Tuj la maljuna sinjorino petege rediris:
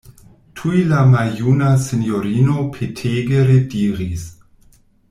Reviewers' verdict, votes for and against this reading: accepted, 2, 0